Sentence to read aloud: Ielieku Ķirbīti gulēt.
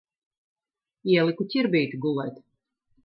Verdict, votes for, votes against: rejected, 0, 2